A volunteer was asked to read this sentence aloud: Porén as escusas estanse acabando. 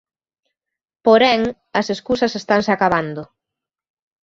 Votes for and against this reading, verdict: 2, 0, accepted